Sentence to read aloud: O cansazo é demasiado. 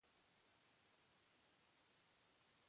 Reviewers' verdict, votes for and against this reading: rejected, 0, 2